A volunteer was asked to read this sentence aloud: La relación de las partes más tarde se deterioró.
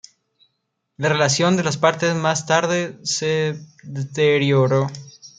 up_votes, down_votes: 0, 2